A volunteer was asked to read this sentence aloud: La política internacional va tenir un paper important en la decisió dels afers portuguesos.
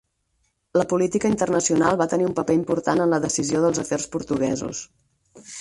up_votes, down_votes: 2, 4